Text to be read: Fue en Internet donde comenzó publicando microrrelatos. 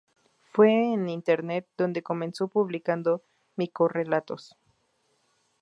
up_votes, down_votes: 0, 2